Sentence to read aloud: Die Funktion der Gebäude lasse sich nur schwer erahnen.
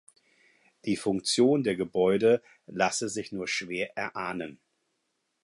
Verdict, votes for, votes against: accepted, 4, 0